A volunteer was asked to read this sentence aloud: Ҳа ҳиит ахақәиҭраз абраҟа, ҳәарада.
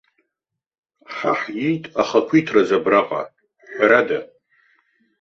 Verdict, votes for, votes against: accepted, 2, 0